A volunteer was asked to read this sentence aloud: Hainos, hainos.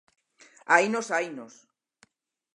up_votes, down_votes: 4, 0